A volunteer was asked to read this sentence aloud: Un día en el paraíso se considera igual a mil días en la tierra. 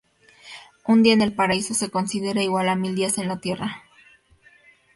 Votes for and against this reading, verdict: 2, 0, accepted